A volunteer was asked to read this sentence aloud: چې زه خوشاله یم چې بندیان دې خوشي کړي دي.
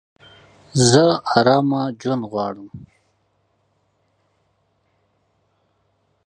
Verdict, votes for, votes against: rejected, 0, 2